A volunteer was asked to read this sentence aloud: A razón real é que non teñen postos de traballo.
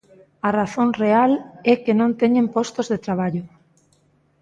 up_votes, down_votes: 2, 1